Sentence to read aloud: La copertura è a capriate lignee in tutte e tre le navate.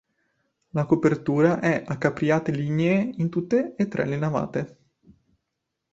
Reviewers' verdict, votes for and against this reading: accepted, 4, 0